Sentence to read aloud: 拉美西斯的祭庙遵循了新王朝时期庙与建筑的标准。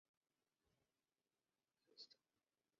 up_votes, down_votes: 0, 2